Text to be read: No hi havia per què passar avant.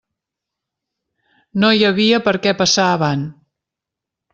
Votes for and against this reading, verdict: 2, 0, accepted